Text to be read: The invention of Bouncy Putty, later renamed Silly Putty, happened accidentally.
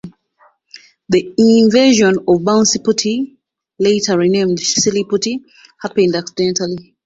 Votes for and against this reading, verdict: 2, 0, accepted